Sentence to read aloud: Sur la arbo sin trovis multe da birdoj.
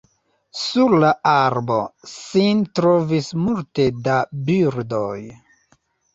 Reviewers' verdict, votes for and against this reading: rejected, 0, 2